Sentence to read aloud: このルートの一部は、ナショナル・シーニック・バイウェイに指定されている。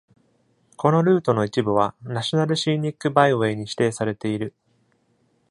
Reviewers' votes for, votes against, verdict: 2, 0, accepted